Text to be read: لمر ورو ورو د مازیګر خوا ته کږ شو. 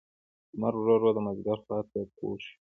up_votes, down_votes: 2, 0